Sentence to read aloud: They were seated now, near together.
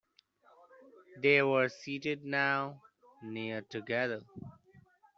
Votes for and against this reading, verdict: 2, 1, accepted